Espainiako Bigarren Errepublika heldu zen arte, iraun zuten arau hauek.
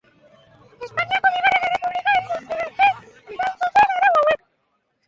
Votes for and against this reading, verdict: 3, 3, rejected